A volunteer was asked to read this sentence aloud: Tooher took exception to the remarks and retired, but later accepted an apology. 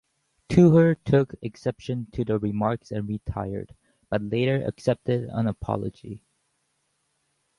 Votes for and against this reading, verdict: 2, 0, accepted